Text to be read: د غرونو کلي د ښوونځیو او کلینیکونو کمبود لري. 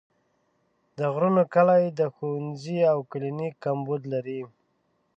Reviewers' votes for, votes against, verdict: 0, 2, rejected